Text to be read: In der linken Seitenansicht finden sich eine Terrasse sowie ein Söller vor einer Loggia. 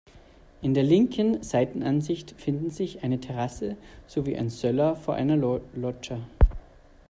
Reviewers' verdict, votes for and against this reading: rejected, 1, 2